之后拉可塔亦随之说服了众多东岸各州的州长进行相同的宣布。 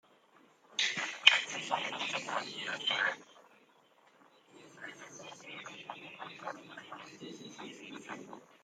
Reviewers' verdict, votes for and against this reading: rejected, 0, 2